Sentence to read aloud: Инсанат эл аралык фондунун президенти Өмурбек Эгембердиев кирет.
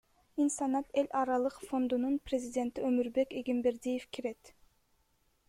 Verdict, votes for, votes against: accepted, 2, 0